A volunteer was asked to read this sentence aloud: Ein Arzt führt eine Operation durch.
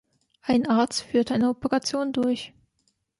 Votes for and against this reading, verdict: 2, 0, accepted